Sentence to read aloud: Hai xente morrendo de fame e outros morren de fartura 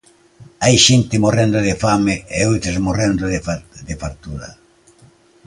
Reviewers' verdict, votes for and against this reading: rejected, 0, 2